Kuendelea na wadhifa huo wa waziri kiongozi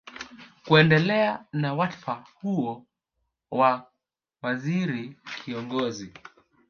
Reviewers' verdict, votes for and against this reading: rejected, 0, 2